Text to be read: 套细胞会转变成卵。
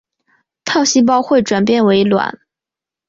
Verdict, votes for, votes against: rejected, 0, 2